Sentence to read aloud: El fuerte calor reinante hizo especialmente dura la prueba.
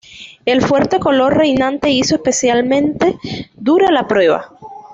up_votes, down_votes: 1, 2